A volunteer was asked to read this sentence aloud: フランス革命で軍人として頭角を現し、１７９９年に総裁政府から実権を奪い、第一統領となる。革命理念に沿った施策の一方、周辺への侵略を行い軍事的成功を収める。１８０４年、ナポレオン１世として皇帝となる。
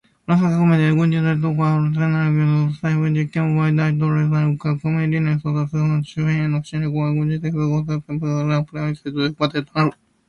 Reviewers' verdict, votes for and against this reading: rejected, 0, 2